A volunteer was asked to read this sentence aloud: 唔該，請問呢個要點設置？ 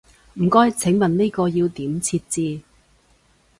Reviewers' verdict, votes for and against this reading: accepted, 2, 0